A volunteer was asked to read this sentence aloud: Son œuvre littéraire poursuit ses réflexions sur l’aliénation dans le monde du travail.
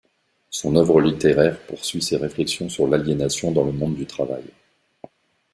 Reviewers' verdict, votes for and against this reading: rejected, 1, 2